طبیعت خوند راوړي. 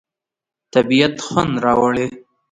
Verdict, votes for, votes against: accepted, 2, 1